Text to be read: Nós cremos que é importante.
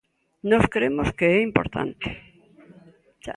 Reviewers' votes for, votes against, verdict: 2, 1, accepted